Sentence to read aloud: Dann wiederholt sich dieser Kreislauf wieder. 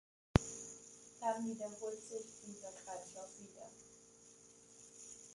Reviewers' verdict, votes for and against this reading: accepted, 2, 1